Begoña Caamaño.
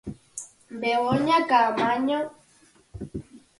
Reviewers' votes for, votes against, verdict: 4, 0, accepted